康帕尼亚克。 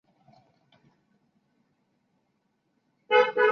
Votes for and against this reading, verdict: 0, 2, rejected